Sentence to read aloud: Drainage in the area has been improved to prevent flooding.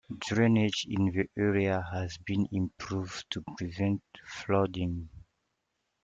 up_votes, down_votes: 1, 2